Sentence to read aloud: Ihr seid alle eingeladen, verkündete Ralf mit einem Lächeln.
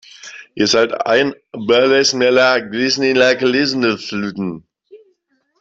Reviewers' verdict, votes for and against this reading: rejected, 0, 2